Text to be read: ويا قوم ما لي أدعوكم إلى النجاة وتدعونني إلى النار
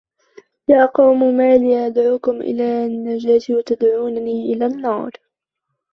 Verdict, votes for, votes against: rejected, 1, 2